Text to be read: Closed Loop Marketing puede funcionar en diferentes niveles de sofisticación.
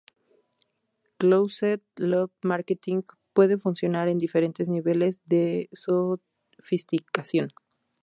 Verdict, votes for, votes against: rejected, 0, 2